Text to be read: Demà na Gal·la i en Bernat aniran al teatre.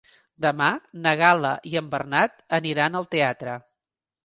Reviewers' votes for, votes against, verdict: 3, 0, accepted